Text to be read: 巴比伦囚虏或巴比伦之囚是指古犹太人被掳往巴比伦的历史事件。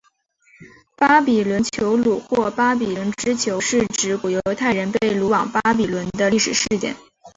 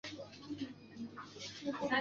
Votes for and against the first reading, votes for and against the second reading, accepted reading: 3, 0, 0, 2, first